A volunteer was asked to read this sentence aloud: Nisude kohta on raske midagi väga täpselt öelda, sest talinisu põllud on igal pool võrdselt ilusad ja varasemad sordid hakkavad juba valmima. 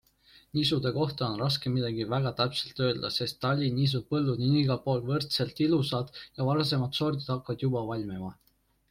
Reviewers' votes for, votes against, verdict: 2, 0, accepted